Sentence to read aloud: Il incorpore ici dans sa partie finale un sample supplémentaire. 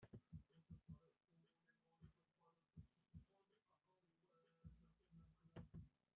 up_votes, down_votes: 1, 2